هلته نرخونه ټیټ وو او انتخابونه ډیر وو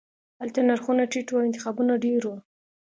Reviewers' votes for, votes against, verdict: 2, 0, accepted